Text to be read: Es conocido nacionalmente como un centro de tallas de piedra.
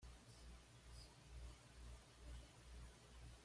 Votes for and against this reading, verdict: 1, 2, rejected